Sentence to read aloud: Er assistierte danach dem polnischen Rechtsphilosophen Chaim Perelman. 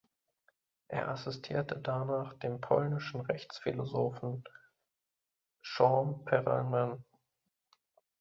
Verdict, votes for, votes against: rejected, 0, 2